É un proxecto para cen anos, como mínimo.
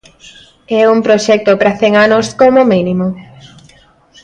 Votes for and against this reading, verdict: 2, 0, accepted